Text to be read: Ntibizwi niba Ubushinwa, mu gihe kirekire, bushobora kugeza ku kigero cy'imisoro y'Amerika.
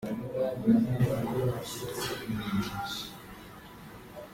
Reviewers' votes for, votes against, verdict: 0, 2, rejected